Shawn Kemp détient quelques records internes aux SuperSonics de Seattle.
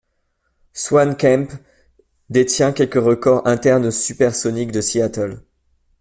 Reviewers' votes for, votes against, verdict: 0, 2, rejected